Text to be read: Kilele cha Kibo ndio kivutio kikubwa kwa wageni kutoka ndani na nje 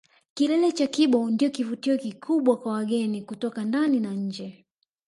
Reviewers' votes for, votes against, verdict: 2, 0, accepted